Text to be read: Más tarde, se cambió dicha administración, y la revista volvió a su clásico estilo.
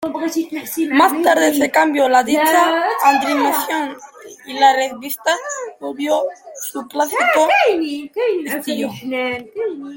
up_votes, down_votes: 1, 2